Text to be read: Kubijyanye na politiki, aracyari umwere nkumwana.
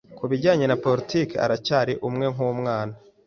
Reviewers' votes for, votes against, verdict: 1, 2, rejected